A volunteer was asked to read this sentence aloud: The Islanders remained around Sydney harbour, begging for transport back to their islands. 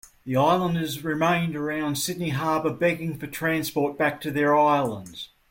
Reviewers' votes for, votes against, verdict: 2, 0, accepted